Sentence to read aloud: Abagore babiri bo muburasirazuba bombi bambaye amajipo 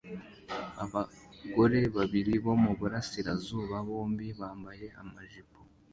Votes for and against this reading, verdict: 2, 1, accepted